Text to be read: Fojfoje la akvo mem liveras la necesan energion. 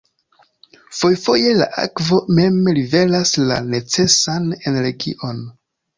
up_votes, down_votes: 1, 2